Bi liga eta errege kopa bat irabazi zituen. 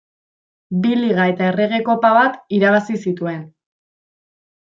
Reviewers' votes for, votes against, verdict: 2, 1, accepted